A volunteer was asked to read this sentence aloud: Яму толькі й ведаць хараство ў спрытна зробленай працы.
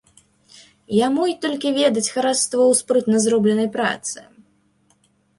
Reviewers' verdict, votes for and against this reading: rejected, 0, 2